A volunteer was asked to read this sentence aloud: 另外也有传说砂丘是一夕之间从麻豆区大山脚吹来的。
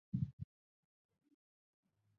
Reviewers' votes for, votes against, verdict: 0, 2, rejected